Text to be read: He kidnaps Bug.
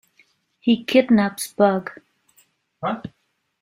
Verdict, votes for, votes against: rejected, 0, 2